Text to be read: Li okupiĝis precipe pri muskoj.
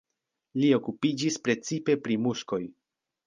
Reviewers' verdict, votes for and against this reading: accepted, 2, 0